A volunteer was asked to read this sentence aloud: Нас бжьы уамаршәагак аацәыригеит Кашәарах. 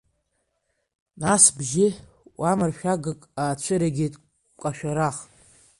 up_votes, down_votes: 0, 2